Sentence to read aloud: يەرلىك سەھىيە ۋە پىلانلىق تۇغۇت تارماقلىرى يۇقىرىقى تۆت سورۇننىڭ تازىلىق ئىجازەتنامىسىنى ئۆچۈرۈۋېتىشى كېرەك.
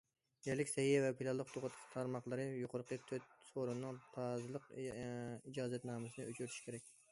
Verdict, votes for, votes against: rejected, 0, 2